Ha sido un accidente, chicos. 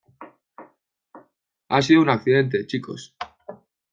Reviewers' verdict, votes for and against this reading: accepted, 2, 1